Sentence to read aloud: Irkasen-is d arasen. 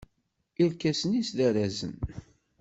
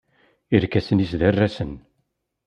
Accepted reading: second